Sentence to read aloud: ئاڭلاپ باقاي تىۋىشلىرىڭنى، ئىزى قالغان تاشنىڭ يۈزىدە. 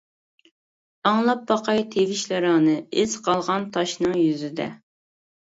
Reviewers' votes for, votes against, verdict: 1, 2, rejected